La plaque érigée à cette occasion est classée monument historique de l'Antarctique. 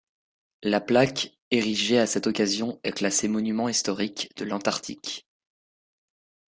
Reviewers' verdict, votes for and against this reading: accepted, 2, 0